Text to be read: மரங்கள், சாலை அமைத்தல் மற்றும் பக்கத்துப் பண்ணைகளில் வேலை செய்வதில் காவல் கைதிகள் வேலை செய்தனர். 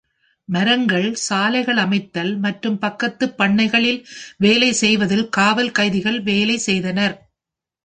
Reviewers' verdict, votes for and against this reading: rejected, 0, 2